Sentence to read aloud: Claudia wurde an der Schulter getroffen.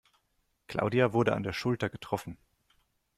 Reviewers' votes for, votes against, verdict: 2, 0, accepted